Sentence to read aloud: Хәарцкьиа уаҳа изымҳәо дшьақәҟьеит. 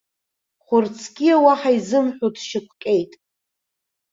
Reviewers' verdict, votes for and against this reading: accepted, 2, 0